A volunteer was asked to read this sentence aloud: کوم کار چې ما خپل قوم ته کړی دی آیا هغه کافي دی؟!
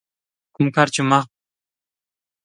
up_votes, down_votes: 0, 2